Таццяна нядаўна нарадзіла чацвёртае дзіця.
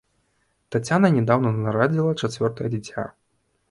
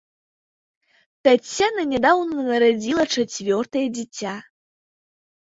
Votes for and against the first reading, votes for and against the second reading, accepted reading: 1, 2, 3, 0, second